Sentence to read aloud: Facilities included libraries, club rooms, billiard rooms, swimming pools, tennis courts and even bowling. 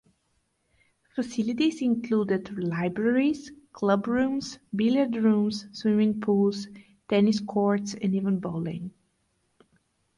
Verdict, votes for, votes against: accepted, 4, 0